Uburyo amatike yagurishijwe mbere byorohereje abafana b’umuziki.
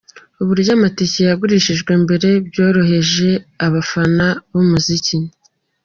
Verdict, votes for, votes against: accepted, 2, 1